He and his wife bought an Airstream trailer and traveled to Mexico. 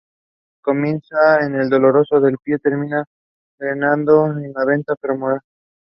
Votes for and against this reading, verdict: 0, 2, rejected